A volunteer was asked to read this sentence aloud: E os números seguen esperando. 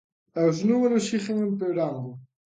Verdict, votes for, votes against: rejected, 0, 2